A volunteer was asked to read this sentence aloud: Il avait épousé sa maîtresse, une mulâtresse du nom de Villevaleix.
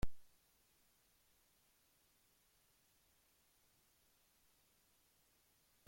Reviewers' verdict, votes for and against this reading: rejected, 0, 2